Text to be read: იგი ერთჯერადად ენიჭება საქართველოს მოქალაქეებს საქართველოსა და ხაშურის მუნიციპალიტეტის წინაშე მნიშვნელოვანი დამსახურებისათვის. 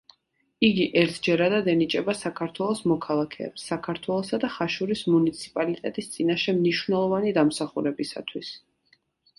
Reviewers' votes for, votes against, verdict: 2, 0, accepted